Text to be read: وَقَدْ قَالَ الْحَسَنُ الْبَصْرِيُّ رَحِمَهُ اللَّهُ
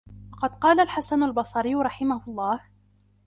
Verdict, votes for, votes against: rejected, 0, 2